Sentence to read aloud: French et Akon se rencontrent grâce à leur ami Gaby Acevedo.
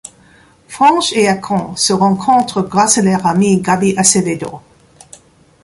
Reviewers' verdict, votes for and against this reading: accepted, 2, 1